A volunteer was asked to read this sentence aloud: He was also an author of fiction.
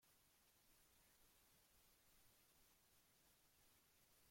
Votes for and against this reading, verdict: 0, 2, rejected